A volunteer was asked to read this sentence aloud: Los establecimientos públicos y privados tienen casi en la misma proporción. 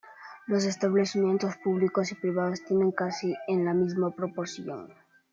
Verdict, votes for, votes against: accepted, 2, 0